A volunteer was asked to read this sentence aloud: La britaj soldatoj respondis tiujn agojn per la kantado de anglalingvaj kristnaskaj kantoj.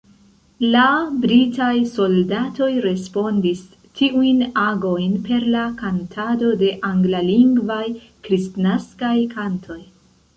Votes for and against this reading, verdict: 1, 2, rejected